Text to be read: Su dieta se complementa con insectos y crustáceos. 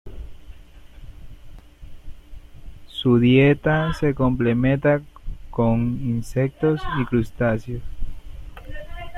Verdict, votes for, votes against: accepted, 2, 0